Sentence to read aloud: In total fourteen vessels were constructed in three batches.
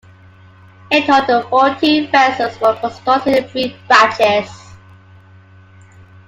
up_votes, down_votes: 2, 1